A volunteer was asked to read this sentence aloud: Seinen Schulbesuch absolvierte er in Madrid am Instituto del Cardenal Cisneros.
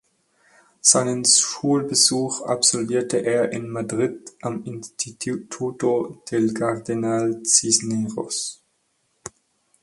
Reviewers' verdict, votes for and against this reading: rejected, 2, 4